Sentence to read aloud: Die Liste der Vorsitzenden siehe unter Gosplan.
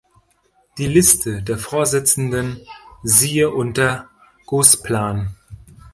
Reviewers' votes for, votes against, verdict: 0, 2, rejected